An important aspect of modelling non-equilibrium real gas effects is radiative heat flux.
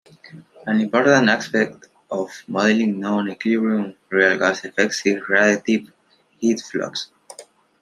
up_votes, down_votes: 1, 2